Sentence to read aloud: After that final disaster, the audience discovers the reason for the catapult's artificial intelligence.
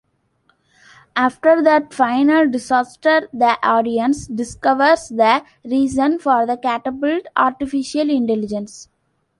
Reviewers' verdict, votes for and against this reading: rejected, 0, 2